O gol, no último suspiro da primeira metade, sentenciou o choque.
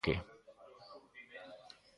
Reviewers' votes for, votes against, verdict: 0, 2, rejected